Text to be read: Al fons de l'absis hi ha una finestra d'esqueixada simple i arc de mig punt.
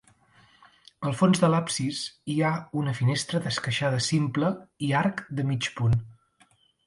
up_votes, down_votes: 2, 0